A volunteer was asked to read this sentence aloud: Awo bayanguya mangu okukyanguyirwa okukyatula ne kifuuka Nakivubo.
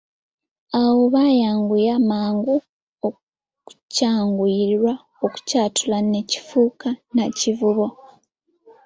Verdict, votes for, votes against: rejected, 0, 2